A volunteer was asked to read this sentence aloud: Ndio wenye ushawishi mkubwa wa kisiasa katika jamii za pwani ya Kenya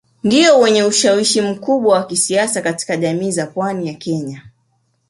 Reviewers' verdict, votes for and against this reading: accepted, 2, 0